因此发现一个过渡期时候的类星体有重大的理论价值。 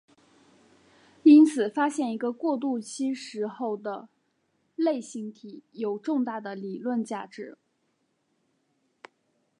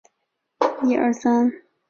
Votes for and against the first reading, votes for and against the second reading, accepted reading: 2, 0, 0, 4, first